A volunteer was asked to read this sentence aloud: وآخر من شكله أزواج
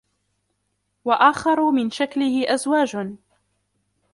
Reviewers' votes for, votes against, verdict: 1, 2, rejected